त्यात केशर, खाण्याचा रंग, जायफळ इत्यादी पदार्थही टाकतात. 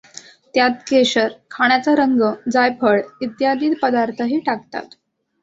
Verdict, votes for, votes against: accepted, 2, 1